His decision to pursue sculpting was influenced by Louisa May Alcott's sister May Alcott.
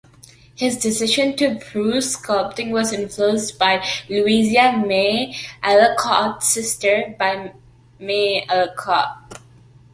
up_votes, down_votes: 1, 2